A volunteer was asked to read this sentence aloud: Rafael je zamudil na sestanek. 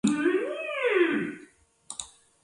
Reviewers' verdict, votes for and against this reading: rejected, 0, 2